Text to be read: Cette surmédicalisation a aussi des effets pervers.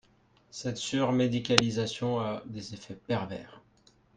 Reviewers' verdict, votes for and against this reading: rejected, 1, 2